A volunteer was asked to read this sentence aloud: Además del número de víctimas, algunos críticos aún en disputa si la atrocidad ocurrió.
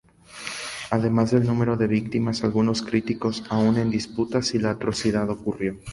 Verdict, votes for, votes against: accepted, 2, 0